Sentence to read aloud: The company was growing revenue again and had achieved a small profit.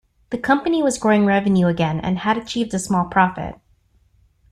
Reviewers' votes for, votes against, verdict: 2, 0, accepted